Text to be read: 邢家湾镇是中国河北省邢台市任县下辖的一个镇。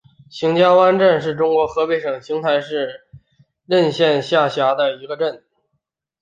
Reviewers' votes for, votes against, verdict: 3, 0, accepted